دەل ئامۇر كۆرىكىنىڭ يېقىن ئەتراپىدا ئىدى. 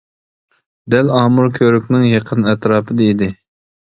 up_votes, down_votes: 0, 2